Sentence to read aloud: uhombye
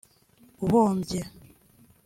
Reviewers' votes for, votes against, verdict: 2, 0, accepted